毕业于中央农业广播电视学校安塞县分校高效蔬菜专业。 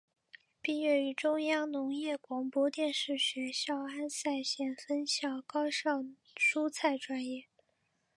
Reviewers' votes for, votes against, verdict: 7, 2, accepted